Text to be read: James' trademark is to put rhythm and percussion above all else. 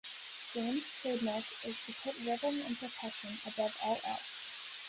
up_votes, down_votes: 1, 2